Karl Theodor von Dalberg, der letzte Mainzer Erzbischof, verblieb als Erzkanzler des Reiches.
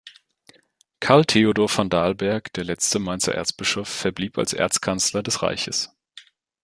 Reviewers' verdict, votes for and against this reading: accepted, 2, 0